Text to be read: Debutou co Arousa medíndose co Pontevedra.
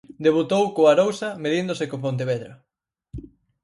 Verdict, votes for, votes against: accepted, 4, 0